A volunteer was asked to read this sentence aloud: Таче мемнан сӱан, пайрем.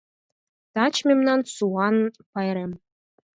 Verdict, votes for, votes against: rejected, 2, 4